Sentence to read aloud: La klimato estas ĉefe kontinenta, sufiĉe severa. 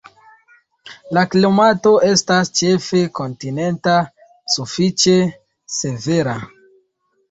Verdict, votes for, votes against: rejected, 1, 2